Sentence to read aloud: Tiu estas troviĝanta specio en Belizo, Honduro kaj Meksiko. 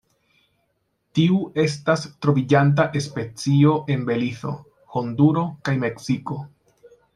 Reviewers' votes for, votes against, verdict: 0, 2, rejected